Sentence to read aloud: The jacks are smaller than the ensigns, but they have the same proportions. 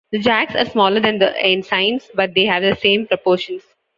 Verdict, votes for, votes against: accepted, 2, 0